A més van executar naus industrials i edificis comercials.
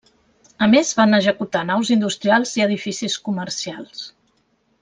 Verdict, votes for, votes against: rejected, 0, 2